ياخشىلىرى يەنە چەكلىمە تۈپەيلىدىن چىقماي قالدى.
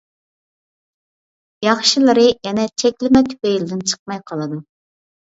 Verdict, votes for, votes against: rejected, 0, 2